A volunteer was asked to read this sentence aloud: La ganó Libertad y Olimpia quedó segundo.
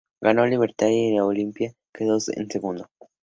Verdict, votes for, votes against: accepted, 2, 0